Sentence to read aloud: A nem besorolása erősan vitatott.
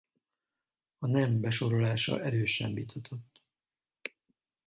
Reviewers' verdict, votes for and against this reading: rejected, 2, 2